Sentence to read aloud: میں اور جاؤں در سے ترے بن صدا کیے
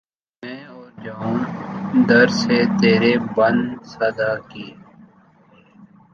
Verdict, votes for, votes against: rejected, 0, 3